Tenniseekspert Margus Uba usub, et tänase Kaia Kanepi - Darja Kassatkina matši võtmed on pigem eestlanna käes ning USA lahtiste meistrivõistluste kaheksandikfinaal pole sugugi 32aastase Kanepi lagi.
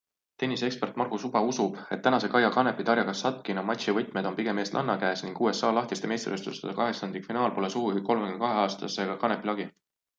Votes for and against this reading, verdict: 0, 2, rejected